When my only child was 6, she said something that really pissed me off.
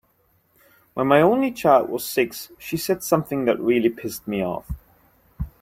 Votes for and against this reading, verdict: 0, 2, rejected